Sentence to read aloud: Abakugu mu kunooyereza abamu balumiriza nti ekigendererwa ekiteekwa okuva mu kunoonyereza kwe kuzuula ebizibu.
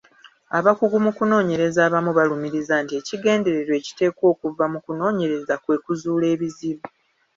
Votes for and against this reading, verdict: 2, 0, accepted